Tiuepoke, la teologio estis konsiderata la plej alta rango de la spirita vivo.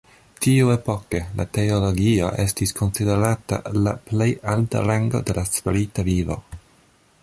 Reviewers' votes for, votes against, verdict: 2, 1, accepted